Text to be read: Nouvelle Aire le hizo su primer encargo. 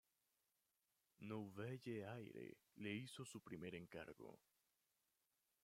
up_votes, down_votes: 0, 2